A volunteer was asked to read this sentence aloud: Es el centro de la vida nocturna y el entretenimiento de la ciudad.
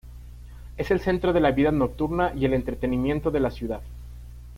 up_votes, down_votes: 3, 0